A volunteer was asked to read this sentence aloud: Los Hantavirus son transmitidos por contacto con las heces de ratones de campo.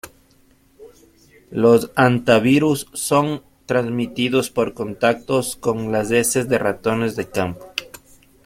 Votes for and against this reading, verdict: 2, 0, accepted